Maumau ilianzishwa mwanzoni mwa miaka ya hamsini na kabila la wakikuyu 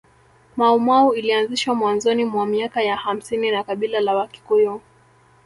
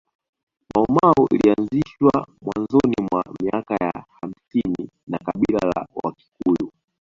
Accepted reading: second